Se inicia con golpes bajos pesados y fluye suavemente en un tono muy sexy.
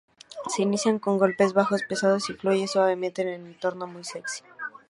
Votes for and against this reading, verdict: 0, 2, rejected